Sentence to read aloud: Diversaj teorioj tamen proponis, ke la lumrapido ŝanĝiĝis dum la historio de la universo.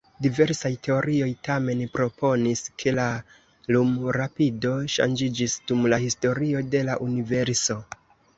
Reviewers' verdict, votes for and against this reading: rejected, 1, 2